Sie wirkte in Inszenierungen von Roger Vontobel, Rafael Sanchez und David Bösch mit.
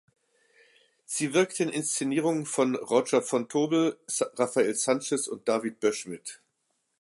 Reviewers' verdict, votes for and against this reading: rejected, 1, 2